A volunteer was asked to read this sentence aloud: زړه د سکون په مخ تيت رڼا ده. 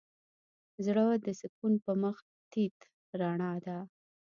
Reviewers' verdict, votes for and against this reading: rejected, 1, 2